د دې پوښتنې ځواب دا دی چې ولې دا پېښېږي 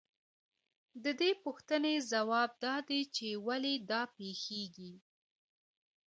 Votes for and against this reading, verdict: 0, 2, rejected